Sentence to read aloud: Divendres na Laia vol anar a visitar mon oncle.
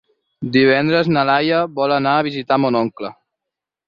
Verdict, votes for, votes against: accepted, 6, 0